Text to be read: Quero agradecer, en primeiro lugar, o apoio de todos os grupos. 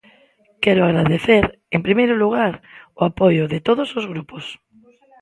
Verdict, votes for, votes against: rejected, 1, 2